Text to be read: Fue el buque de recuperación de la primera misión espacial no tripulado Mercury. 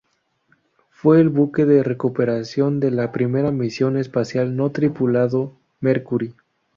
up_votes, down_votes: 0, 2